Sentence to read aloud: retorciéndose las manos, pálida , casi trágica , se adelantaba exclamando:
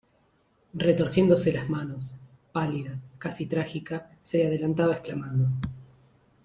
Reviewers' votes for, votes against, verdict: 2, 0, accepted